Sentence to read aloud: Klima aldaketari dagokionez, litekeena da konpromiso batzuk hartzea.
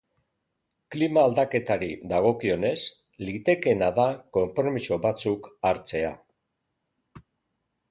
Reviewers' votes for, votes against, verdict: 3, 0, accepted